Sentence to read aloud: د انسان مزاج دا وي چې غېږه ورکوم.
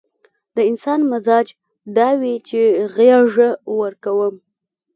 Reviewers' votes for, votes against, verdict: 2, 0, accepted